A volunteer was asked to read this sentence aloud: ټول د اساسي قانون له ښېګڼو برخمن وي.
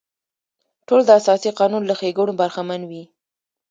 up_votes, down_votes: 2, 0